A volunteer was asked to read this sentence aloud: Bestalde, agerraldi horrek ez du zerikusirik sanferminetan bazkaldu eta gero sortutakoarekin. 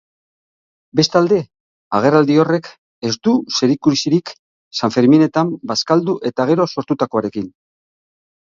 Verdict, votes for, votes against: accepted, 9, 0